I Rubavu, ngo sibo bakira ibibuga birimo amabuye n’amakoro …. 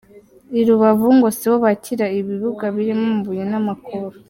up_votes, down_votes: 2, 0